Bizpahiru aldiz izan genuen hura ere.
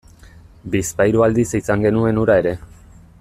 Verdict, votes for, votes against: accepted, 2, 0